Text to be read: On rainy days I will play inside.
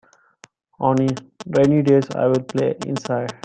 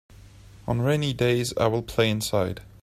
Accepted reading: second